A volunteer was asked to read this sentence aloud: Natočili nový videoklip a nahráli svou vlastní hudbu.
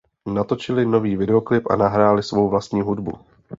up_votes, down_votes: 2, 0